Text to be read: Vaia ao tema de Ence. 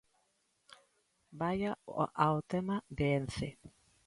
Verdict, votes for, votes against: rejected, 0, 2